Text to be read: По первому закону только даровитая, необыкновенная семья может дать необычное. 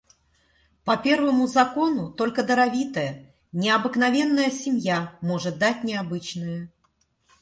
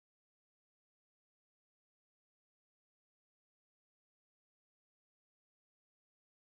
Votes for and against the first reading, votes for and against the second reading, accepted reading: 2, 0, 0, 14, first